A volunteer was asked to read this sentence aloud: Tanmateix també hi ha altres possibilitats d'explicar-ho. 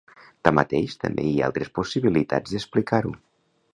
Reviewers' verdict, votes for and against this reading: accepted, 2, 0